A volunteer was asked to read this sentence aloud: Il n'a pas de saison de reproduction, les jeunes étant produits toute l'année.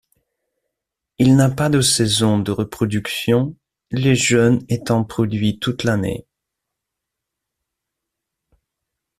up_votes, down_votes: 2, 0